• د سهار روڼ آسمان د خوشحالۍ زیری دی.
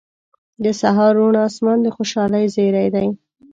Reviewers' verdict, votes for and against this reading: accepted, 2, 0